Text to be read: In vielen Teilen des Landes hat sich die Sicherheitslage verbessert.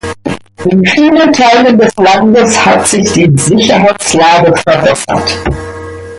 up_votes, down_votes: 2, 1